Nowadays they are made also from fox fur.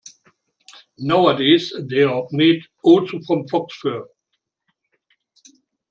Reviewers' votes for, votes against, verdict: 2, 0, accepted